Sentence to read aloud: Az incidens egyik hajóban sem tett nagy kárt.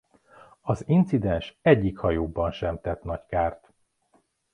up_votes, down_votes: 3, 0